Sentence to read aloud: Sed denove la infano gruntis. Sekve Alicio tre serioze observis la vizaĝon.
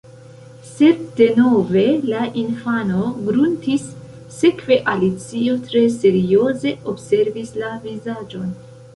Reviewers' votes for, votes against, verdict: 1, 2, rejected